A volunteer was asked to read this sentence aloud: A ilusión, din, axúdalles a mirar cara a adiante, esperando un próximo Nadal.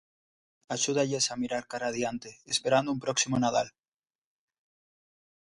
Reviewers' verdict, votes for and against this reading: rejected, 0, 2